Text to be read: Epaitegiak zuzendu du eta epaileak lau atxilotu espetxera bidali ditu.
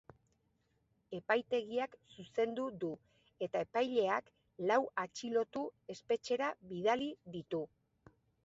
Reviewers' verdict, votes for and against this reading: rejected, 2, 3